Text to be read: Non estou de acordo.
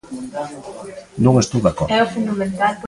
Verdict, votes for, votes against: rejected, 0, 2